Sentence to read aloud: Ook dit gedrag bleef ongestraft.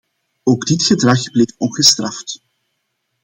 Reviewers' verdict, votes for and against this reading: accepted, 2, 0